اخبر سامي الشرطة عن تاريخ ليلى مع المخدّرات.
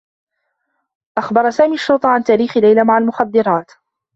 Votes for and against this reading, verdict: 0, 2, rejected